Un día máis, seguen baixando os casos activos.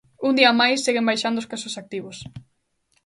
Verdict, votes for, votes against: accepted, 2, 0